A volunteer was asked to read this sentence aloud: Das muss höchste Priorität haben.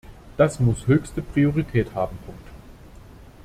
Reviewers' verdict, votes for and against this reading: rejected, 0, 2